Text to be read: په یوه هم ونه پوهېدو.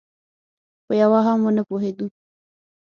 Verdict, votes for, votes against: accepted, 6, 0